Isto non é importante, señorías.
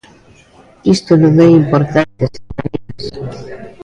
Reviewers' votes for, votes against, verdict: 0, 2, rejected